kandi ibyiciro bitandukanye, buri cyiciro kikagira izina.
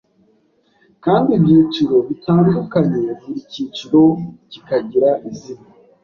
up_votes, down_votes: 2, 0